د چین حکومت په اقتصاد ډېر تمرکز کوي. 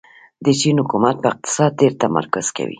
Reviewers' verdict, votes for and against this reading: rejected, 1, 2